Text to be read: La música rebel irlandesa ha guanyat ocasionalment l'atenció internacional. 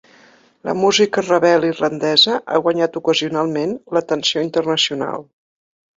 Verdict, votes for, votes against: accepted, 2, 0